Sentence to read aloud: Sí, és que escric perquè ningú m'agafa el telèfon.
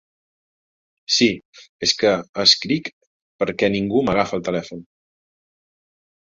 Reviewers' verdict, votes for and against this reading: accepted, 2, 0